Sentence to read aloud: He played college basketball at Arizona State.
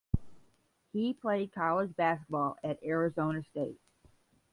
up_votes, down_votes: 10, 0